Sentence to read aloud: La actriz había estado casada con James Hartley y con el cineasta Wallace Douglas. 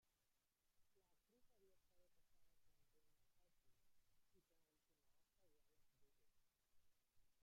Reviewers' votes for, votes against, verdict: 0, 2, rejected